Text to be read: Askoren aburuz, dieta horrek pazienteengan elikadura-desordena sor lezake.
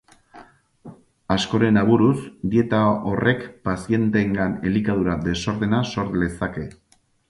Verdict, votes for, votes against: accepted, 6, 0